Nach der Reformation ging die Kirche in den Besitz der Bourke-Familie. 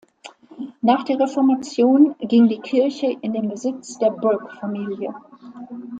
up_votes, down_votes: 2, 1